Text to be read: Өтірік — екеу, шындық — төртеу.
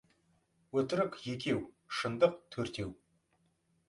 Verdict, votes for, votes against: accepted, 2, 0